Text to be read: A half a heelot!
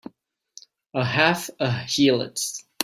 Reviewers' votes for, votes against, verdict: 2, 1, accepted